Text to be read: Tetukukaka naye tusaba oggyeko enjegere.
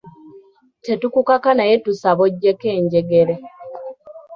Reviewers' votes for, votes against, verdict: 2, 0, accepted